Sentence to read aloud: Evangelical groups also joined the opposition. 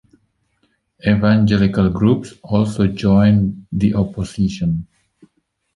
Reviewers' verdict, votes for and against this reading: accepted, 2, 1